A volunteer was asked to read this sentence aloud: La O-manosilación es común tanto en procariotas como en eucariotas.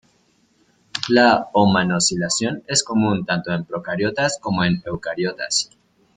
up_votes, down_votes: 2, 0